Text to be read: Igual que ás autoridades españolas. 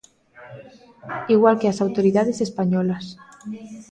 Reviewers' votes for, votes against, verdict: 0, 2, rejected